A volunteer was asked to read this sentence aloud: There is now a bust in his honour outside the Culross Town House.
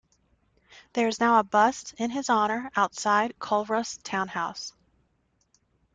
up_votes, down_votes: 0, 2